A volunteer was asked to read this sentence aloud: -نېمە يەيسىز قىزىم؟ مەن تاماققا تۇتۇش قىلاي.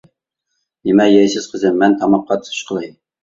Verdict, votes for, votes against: rejected, 0, 2